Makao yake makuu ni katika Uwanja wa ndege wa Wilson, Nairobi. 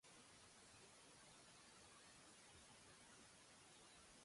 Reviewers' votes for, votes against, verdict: 0, 2, rejected